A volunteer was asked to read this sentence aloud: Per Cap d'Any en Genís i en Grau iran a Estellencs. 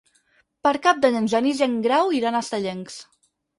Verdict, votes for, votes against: rejected, 2, 4